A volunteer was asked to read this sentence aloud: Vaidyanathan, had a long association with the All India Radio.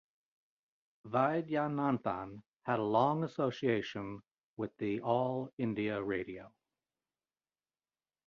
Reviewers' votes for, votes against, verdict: 2, 0, accepted